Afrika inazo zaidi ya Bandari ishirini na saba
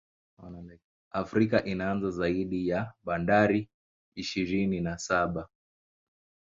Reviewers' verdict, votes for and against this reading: accepted, 2, 0